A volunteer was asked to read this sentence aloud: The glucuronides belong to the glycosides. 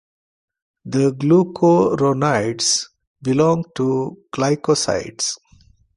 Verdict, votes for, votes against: rejected, 0, 2